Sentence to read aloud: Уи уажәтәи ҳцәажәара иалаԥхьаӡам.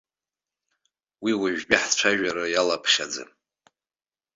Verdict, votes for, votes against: accepted, 3, 0